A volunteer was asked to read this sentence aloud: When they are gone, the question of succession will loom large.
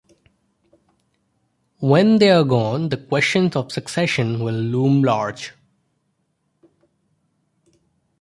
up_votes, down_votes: 2, 0